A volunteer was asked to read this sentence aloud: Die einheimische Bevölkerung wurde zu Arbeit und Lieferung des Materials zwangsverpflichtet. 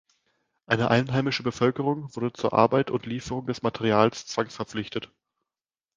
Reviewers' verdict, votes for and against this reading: rejected, 0, 2